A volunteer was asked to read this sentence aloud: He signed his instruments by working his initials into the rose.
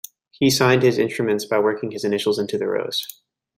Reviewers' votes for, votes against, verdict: 1, 2, rejected